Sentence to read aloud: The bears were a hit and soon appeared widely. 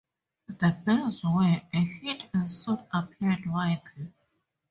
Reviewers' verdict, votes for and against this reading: accepted, 2, 0